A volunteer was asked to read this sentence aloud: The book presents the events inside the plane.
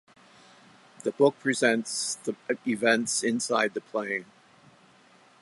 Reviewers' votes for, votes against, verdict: 0, 2, rejected